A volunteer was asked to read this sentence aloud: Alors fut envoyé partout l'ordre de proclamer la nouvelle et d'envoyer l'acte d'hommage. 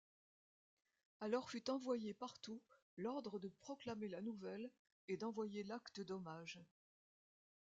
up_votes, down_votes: 1, 2